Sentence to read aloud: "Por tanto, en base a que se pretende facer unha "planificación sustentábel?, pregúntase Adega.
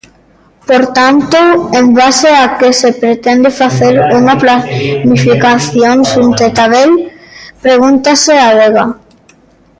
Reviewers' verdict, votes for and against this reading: rejected, 0, 2